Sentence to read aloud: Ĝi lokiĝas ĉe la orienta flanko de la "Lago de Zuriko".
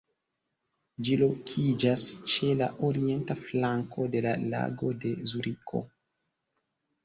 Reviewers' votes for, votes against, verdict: 0, 2, rejected